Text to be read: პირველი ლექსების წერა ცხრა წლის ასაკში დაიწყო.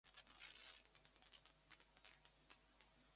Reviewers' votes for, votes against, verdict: 0, 2, rejected